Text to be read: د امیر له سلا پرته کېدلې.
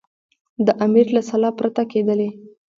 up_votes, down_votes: 2, 1